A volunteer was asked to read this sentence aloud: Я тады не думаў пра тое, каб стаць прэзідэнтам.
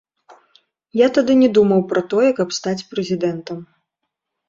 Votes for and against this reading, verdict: 2, 0, accepted